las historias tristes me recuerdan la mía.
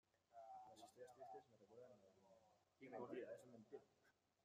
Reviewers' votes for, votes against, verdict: 0, 2, rejected